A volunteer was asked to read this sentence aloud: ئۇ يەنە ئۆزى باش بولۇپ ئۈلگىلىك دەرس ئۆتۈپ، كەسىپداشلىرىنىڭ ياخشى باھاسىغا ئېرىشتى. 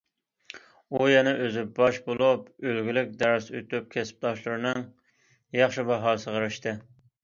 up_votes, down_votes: 1, 2